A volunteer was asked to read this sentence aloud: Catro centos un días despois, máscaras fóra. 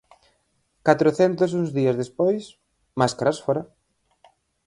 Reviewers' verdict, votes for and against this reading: rejected, 0, 4